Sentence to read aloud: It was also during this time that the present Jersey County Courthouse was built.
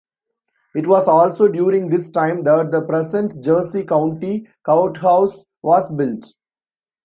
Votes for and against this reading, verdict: 2, 0, accepted